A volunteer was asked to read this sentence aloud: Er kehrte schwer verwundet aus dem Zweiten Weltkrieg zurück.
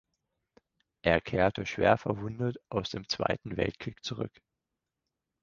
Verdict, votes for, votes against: accepted, 4, 0